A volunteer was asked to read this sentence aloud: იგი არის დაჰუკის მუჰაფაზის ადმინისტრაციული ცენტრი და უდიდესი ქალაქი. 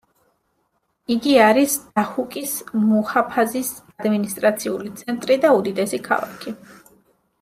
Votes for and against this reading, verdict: 2, 0, accepted